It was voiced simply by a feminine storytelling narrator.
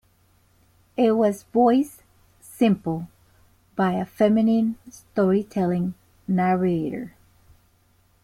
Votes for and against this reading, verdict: 2, 3, rejected